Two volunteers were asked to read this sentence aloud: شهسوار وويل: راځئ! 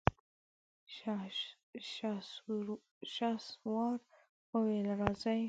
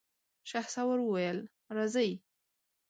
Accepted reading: second